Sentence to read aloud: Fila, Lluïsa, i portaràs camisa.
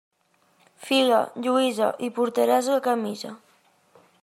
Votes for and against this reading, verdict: 0, 2, rejected